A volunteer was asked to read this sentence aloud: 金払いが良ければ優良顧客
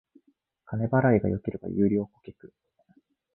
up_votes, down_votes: 2, 1